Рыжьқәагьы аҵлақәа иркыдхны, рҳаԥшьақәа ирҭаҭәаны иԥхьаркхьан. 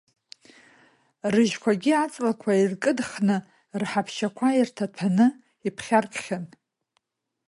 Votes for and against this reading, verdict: 1, 2, rejected